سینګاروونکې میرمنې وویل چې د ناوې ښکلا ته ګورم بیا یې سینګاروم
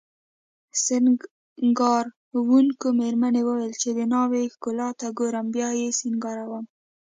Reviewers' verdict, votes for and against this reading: accepted, 2, 1